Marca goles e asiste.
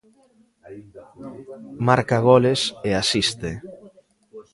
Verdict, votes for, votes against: rejected, 1, 2